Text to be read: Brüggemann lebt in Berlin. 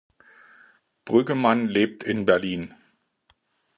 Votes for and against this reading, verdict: 2, 0, accepted